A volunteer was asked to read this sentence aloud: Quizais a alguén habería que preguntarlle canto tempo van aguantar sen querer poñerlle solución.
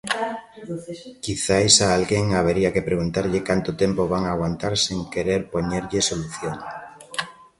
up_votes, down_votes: 2, 0